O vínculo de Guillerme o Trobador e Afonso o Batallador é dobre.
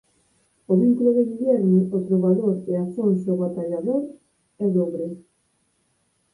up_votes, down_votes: 2, 4